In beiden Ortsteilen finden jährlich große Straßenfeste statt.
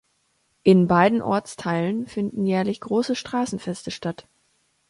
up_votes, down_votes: 2, 0